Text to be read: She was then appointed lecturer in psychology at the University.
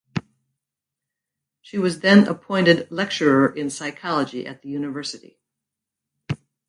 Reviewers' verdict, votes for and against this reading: accepted, 4, 0